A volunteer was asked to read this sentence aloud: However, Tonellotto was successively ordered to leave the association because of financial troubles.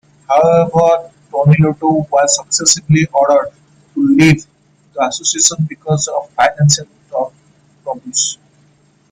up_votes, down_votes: 0, 2